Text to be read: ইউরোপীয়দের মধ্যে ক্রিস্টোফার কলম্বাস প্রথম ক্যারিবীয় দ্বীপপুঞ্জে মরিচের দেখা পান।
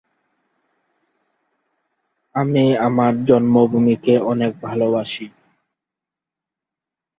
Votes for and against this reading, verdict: 0, 2, rejected